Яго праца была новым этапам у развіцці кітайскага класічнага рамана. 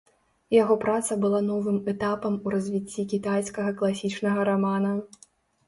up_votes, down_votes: 2, 0